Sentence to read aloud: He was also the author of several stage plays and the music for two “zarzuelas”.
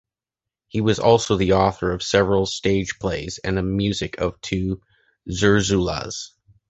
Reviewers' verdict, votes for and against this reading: rejected, 0, 2